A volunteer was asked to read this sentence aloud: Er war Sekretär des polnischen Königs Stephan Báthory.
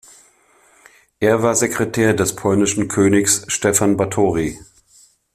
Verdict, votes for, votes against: accepted, 2, 0